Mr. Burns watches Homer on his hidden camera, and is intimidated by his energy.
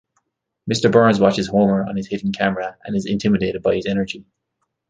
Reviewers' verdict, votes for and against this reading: accepted, 2, 0